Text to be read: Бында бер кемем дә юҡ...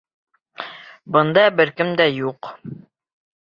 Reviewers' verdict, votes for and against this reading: rejected, 0, 2